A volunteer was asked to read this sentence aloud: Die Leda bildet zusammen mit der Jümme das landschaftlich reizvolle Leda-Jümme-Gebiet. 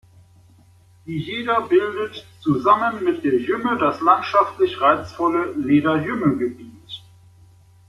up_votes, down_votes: 2, 0